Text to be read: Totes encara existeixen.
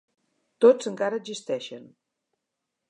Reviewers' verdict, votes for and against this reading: rejected, 1, 2